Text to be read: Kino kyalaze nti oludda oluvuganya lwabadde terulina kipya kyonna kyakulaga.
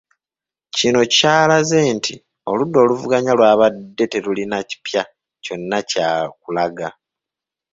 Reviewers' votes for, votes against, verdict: 2, 1, accepted